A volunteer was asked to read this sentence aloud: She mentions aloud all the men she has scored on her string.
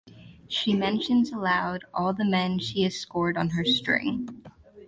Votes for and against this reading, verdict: 2, 2, rejected